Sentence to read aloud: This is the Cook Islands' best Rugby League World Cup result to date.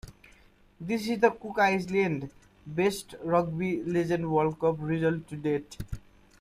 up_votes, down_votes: 0, 2